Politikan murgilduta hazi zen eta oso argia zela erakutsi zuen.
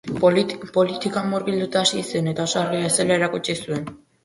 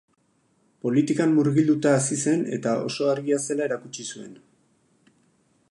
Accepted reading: second